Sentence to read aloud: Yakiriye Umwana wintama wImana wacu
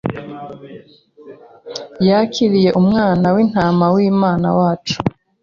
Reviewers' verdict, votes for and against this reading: accepted, 2, 0